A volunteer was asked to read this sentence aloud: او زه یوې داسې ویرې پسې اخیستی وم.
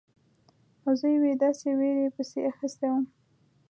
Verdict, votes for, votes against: accepted, 2, 0